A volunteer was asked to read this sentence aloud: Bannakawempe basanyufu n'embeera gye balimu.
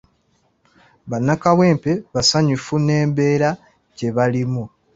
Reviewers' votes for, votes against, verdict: 2, 0, accepted